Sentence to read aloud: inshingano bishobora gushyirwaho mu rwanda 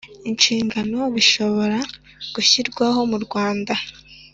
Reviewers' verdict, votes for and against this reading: accepted, 4, 0